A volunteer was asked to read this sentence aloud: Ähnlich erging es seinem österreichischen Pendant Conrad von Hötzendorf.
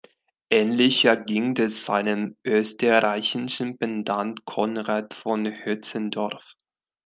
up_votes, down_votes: 0, 2